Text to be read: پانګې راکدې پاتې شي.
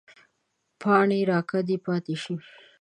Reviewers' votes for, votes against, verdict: 1, 2, rejected